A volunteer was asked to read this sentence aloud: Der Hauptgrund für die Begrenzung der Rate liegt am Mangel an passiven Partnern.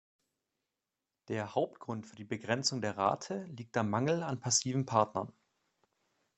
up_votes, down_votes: 2, 0